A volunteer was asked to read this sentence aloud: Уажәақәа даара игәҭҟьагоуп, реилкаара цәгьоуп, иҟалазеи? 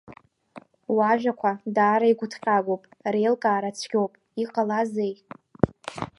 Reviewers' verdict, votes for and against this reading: accepted, 2, 0